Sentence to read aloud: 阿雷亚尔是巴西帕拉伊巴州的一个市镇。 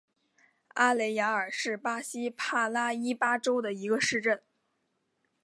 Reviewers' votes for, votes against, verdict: 3, 0, accepted